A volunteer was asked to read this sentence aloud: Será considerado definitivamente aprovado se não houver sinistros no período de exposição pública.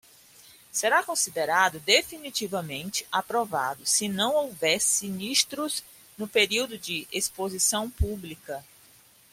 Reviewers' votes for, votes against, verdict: 2, 0, accepted